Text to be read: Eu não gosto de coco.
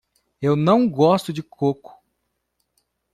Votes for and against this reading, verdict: 2, 0, accepted